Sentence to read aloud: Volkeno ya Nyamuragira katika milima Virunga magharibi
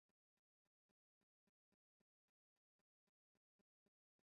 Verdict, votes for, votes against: rejected, 0, 2